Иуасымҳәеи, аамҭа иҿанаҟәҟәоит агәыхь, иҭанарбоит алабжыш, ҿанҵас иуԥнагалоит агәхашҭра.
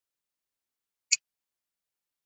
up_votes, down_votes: 0, 2